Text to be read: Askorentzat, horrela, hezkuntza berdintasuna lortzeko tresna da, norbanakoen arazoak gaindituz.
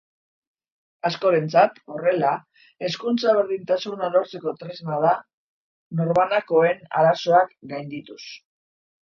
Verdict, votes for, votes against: accepted, 2, 0